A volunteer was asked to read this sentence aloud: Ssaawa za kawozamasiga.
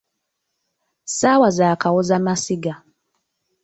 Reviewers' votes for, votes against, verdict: 2, 0, accepted